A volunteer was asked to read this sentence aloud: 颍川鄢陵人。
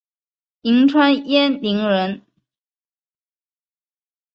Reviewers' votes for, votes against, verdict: 3, 1, accepted